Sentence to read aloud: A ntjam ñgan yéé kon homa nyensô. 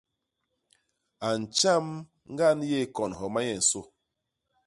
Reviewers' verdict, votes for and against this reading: accepted, 2, 0